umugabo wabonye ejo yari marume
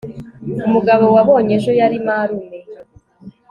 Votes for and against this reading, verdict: 2, 0, accepted